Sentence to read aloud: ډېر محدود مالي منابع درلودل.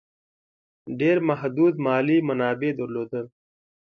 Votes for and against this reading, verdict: 2, 0, accepted